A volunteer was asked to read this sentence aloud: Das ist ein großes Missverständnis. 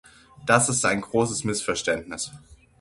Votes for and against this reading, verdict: 6, 0, accepted